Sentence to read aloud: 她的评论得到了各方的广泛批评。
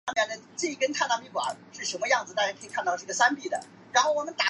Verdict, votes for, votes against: rejected, 1, 5